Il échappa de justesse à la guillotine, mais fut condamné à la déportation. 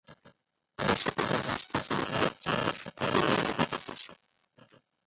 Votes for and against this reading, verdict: 0, 2, rejected